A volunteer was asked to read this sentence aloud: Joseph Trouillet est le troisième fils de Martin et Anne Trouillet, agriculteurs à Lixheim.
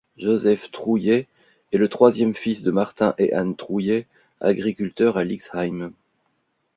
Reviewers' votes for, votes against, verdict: 2, 0, accepted